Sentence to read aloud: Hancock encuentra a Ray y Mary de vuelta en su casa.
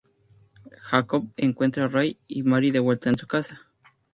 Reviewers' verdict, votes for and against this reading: accepted, 4, 0